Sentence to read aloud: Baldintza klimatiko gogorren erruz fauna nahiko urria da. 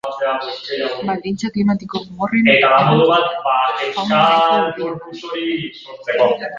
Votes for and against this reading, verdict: 0, 2, rejected